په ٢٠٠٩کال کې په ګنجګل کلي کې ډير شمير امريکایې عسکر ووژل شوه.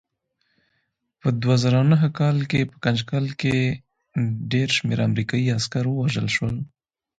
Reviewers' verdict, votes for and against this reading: rejected, 0, 2